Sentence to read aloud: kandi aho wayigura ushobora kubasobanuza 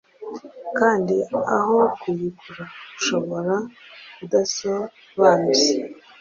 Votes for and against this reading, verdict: 1, 2, rejected